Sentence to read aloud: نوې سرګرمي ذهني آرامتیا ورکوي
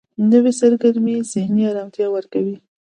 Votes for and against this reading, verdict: 2, 0, accepted